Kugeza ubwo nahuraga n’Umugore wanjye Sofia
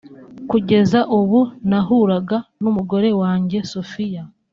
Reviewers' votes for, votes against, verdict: 1, 2, rejected